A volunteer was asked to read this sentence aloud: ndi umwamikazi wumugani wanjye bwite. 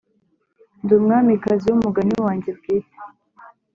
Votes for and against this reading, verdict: 3, 0, accepted